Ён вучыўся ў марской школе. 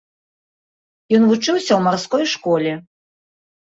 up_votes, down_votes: 2, 0